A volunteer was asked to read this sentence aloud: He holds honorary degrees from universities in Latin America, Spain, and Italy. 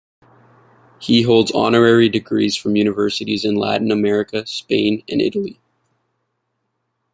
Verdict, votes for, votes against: accepted, 2, 0